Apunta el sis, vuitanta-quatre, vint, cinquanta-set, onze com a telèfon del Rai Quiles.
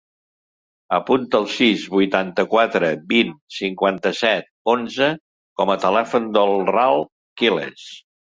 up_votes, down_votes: 0, 3